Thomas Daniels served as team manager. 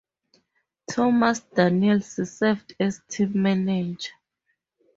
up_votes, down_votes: 0, 2